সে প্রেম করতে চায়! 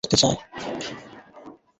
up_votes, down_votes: 0, 2